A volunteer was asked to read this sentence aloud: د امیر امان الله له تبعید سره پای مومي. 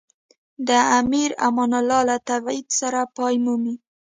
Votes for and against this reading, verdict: 2, 1, accepted